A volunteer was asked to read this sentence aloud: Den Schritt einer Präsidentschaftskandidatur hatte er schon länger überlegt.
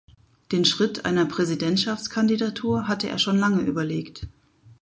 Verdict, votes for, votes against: rejected, 0, 4